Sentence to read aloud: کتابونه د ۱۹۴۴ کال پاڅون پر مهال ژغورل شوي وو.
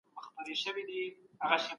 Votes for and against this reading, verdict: 0, 2, rejected